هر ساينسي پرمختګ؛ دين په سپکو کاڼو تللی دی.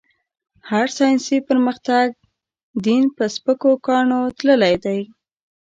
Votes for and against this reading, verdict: 2, 3, rejected